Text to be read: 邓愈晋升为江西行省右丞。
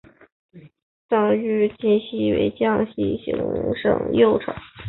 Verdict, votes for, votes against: accepted, 2, 0